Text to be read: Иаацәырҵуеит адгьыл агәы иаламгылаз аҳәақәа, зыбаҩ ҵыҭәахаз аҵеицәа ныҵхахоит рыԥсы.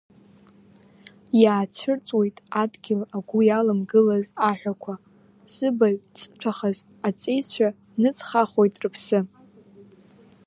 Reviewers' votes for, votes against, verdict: 1, 2, rejected